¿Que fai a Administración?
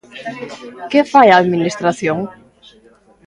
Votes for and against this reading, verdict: 2, 0, accepted